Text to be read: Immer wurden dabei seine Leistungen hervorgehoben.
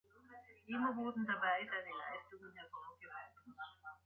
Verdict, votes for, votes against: rejected, 1, 2